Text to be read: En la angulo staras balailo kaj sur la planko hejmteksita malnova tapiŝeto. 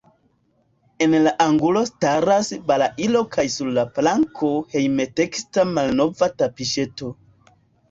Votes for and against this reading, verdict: 1, 2, rejected